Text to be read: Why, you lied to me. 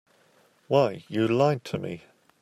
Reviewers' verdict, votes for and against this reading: accepted, 2, 0